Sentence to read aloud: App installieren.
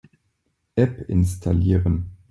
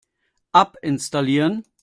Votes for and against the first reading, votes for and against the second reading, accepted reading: 2, 0, 1, 2, first